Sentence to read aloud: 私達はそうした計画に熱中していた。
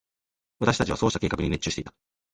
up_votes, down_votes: 2, 0